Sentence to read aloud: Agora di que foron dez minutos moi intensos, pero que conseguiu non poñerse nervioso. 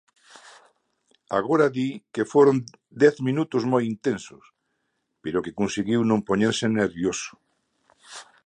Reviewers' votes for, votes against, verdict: 2, 0, accepted